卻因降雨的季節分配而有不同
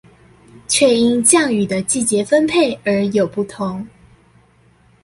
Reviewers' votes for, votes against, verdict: 2, 0, accepted